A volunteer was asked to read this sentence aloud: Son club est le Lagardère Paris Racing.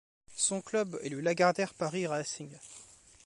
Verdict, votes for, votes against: rejected, 1, 2